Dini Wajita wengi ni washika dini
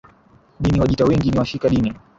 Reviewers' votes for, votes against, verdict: 0, 2, rejected